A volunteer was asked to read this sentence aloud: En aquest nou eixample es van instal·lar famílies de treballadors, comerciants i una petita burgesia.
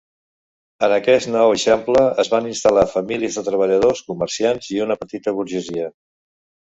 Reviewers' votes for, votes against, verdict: 1, 2, rejected